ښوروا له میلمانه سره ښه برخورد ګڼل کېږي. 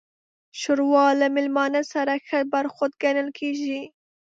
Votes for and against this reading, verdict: 1, 2, rejected